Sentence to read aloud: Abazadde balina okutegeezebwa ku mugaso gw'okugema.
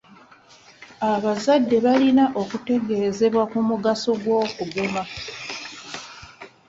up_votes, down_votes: 2, 0